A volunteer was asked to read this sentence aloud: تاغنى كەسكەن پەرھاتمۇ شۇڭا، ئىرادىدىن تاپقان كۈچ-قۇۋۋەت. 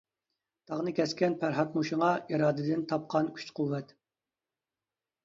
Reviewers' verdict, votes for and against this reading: accepted, 2, 0